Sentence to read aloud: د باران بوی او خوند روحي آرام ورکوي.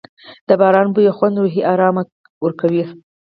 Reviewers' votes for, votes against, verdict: 4, 0, accepted